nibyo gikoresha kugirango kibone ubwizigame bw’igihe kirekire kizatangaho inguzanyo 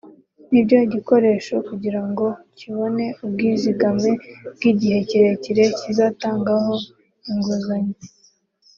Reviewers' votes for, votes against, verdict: 3, 0, accepted